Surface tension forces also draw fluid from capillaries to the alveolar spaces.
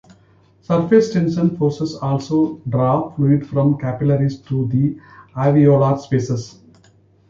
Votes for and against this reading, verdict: 0, 2, rejected